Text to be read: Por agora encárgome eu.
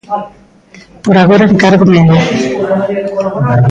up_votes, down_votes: 0, 2